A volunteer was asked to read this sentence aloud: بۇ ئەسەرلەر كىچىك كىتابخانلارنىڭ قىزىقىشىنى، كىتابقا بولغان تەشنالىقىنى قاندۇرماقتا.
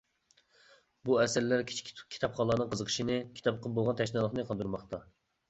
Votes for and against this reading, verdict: 0, 2, rejected